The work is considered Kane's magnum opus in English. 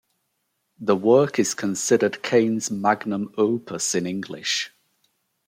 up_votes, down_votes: 2, 0